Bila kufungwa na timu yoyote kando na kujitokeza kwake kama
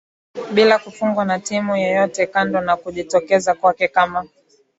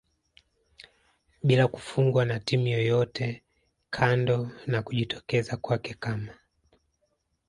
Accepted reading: first